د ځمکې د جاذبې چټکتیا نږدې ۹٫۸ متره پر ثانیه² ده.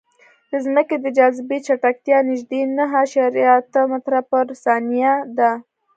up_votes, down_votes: 0, 2